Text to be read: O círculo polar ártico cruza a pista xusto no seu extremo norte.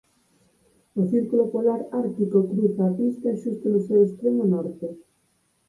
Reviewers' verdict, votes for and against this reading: rejected, 2, 4